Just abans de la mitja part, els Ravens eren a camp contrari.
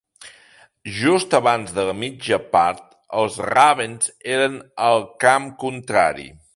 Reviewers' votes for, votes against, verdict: 3, 2, accepted